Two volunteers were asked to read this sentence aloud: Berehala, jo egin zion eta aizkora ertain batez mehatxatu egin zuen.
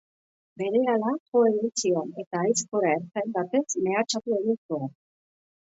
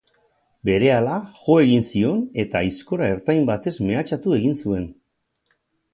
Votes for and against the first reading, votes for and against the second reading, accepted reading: 0, 2, 8, 0, second